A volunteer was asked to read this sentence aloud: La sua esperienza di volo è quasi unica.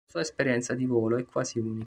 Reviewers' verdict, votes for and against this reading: rejected, 0, 2